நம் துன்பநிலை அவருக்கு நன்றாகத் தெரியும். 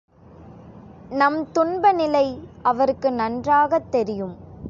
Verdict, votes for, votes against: accepted, 3, 0